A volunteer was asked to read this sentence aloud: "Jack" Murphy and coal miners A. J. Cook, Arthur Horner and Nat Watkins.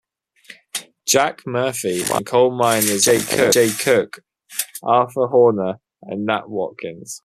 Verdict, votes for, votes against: accepted, 2, 0